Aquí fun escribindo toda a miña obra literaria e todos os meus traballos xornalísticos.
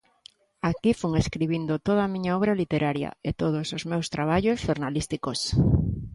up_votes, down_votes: 2, 0